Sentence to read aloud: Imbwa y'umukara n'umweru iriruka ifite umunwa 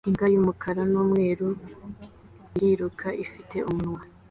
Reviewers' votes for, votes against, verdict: 2, 0, accepted